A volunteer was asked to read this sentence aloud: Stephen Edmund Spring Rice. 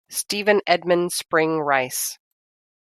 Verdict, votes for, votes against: accepted, 2, 0